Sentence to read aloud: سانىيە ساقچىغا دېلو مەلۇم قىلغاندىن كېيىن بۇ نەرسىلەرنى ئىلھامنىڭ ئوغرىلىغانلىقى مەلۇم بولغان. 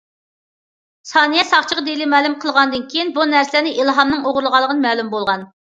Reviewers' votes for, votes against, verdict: 2, 1, accepted